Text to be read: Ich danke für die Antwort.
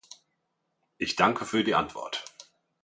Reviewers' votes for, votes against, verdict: 2, 0, accepted